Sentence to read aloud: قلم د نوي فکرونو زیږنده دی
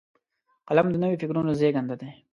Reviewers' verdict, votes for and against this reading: accepted, 2, 0